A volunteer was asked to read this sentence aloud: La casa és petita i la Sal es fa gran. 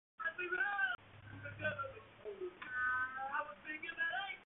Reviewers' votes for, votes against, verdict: 0, 2, rejected